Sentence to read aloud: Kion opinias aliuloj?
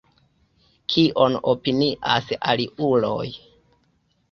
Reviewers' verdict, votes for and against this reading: accepted, 2, 1